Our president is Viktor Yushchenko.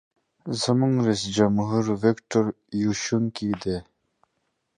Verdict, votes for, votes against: rejected, 0, 2